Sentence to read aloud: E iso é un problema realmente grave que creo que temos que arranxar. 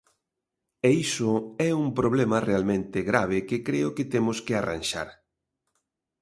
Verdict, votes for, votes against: accepted, 2, 0